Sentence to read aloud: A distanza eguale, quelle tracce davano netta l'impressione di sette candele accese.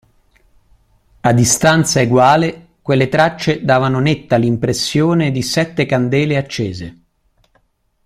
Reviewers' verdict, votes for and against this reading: accepted, 2, 0